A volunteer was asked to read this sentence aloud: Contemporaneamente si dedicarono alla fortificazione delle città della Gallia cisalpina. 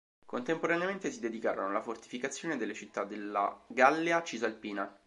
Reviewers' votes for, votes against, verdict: 2, 0, accepted